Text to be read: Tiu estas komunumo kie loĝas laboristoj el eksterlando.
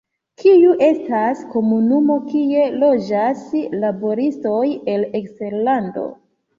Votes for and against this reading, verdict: 1, 3, rejected